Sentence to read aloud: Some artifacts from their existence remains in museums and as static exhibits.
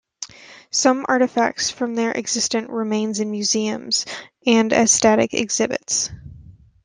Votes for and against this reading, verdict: 2, 0, accepted